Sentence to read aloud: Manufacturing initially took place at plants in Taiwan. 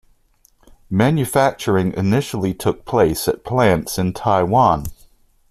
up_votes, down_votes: 2, 0